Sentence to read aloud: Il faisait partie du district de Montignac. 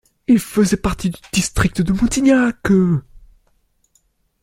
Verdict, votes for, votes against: rejected, 0, 2